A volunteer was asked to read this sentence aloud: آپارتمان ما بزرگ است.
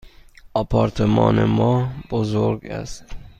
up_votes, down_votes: 2, 0